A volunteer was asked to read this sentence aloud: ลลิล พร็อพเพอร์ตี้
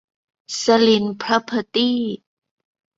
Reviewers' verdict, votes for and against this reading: rejected, 1, 2